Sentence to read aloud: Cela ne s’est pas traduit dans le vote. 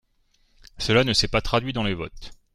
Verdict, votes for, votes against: rejected, 1, 2